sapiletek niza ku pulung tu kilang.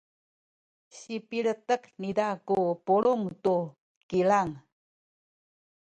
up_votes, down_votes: 1, 2